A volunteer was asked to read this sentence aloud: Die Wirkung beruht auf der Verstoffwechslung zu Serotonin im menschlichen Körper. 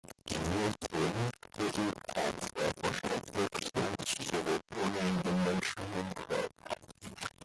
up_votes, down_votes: 0, 2